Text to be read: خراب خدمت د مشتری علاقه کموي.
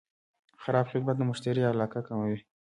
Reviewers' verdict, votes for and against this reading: rejected, 0, 2